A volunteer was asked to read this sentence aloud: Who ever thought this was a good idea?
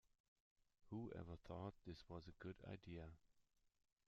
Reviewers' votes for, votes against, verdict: 1, 2, rejected